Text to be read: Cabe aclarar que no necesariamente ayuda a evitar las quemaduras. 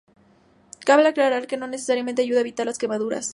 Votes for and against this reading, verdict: 2, 0, accepted